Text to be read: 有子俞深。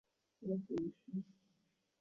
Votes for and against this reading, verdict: 0, 2, rejected